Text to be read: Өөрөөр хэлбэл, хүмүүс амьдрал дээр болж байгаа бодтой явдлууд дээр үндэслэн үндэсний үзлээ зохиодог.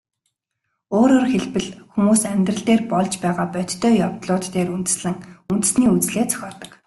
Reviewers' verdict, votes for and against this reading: accepted, 2, 0